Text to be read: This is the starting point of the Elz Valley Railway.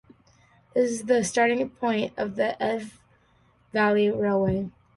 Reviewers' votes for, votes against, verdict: 2, 0, accepted